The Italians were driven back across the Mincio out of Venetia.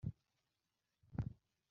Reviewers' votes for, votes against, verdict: 0, 2, rejected